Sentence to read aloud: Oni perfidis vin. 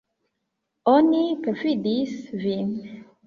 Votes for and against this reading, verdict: 2, 0, accepted